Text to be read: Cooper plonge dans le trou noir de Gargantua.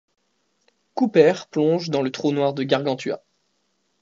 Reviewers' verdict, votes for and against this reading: accepted, 2, 0